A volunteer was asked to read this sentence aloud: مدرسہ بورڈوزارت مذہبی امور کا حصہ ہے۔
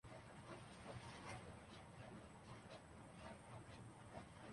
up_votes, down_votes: 0, 2